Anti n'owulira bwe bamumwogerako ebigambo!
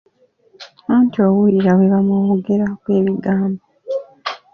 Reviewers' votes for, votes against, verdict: 1, 2, rejected